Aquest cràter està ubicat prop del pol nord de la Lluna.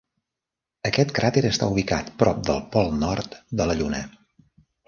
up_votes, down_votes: 3, 0